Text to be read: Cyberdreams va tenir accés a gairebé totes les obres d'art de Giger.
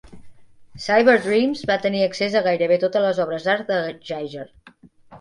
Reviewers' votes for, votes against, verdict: 2, 0, accepted